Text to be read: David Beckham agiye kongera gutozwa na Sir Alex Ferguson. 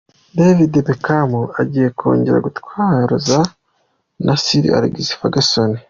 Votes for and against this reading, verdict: 2, 0, accepted